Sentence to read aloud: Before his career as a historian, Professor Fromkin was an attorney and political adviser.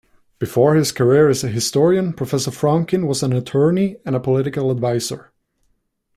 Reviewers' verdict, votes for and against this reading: rejected, 0, 2